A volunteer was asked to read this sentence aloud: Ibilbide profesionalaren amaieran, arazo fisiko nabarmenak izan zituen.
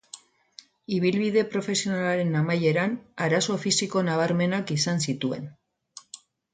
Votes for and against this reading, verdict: 6, 0, accepted